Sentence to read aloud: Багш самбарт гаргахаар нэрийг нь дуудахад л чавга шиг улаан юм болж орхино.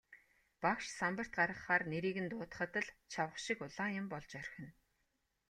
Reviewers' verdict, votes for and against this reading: accepted, 2, 0